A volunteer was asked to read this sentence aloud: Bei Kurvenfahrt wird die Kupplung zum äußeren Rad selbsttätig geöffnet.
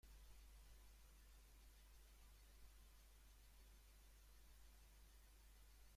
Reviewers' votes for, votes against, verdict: 0, 2, rejected